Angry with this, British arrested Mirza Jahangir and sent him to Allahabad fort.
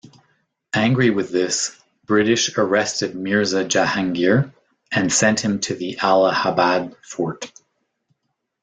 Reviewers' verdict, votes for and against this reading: rejected, 1, 2